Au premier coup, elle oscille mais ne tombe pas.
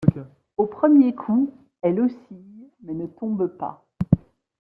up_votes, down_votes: 0, 2